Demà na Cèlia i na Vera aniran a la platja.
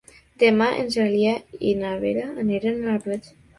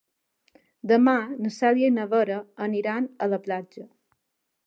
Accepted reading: second